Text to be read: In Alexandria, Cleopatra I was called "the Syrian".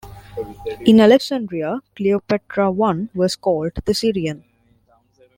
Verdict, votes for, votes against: rejected, 0, 2